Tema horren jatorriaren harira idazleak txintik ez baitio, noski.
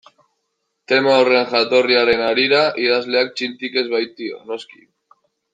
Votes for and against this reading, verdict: 2, 0, accepted